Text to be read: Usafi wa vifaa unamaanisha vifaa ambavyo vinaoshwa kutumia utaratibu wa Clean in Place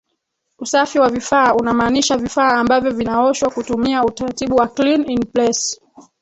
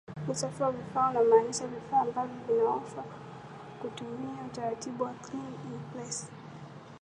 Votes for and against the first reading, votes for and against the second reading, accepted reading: 2, 3, 2, 1, second